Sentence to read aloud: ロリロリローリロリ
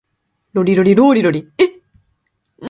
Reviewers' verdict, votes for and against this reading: rejected, 0, 2